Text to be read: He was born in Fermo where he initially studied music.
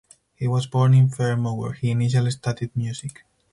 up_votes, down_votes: 4, 0